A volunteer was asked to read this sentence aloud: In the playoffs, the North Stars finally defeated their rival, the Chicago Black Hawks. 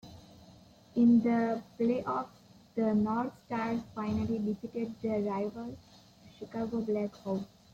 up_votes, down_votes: 2, 1